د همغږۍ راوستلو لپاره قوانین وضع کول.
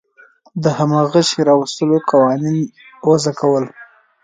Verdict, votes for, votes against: rejected, 3, 4